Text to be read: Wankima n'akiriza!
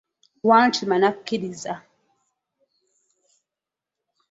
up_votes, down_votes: 0, 2